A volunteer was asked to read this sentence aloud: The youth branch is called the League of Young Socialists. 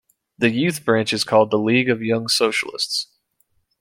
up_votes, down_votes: 2, 0